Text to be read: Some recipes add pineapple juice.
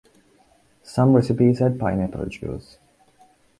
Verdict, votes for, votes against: accepted, 2, 1